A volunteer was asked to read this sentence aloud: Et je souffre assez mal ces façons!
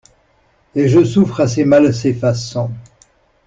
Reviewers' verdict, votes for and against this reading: accepted, 2, 0